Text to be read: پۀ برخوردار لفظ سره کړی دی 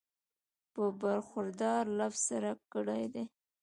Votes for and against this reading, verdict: 0, 2, rejected